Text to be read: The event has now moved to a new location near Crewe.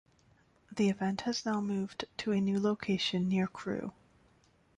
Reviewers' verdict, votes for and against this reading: rejected, 0, 2